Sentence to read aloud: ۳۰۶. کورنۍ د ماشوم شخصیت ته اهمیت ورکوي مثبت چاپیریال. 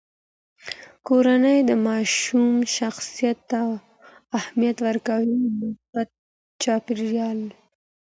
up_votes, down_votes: 0, 2